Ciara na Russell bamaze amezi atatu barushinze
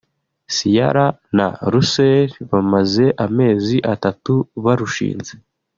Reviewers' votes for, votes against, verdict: 2, 0, accepted